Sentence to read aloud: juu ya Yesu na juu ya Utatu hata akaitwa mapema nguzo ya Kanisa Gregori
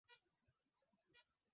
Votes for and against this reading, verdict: 1, 4, rejected